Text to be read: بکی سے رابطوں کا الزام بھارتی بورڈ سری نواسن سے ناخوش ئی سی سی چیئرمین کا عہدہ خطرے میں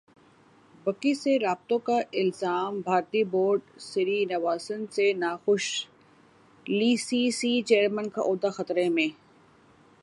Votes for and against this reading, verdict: 6, 4, accepted